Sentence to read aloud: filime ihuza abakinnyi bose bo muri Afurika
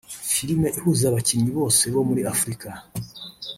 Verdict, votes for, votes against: rejected, 1, 2